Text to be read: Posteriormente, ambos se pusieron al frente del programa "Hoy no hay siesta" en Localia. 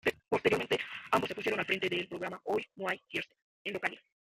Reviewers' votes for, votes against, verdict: 1, 2, rejected